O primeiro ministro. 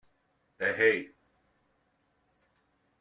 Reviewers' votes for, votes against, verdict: 0, 2, rejected